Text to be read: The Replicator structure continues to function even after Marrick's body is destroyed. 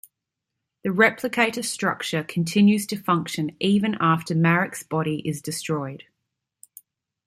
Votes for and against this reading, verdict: 2, 1, accepted